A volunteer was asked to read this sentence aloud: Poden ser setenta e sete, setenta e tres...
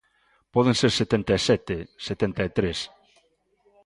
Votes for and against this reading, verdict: 2, 0, accepted